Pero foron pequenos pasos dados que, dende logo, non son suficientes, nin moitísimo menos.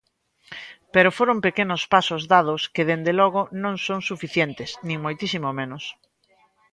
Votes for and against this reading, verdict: 2, 0, accepted